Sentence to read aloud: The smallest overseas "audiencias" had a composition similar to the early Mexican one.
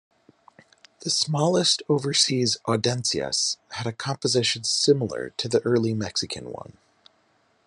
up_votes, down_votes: 0, 2